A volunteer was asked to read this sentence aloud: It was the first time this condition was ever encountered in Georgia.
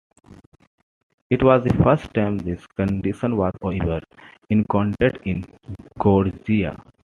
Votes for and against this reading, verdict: 2, 0, accepted